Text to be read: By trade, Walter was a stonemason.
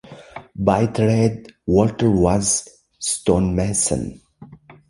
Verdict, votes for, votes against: rejected, 0, 2